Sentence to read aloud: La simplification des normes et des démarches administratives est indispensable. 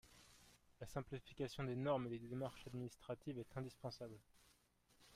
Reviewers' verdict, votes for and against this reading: rejected, 0, 2